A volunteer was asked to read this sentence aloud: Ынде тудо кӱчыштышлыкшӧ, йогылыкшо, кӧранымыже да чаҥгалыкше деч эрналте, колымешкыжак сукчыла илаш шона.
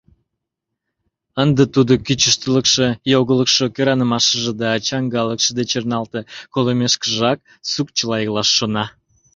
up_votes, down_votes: 1, 2